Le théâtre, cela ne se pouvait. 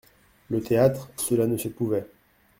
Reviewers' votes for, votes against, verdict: 2, 0, accepted